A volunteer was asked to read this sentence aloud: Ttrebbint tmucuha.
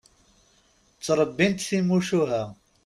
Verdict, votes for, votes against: rejected, 1, 2